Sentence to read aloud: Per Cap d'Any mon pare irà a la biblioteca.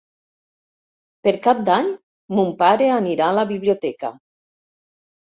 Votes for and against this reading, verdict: 1, 2, rejected